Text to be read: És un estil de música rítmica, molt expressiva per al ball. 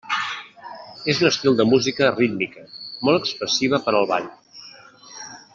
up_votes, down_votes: 1, 2